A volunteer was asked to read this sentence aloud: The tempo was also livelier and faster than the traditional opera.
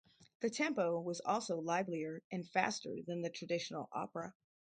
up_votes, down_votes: 2, 0